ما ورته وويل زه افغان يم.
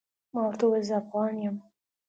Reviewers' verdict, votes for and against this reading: accepted, 2, 0